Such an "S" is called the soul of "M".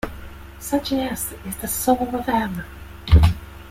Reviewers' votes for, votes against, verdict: 3, 2, accepted